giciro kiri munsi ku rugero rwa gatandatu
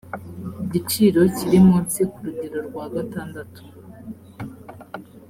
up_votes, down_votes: 3, 0